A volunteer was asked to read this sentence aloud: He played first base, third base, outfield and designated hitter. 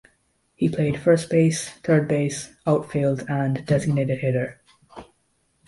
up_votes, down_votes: 2, 0